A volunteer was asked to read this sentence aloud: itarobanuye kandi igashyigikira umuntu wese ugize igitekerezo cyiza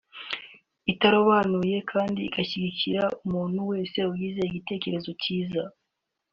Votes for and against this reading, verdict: 2, 0, accepted